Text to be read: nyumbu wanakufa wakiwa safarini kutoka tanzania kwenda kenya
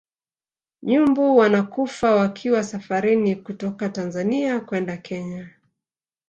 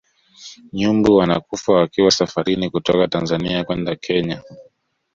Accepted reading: second